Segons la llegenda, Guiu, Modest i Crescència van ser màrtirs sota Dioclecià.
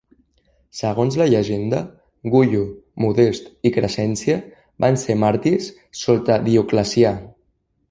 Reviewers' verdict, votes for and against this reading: rejected, 0, 2